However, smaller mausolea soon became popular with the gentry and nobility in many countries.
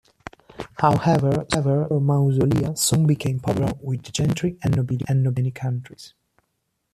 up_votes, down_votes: 0, 2